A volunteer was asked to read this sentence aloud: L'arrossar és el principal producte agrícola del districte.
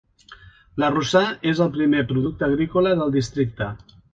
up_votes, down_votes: 2, 1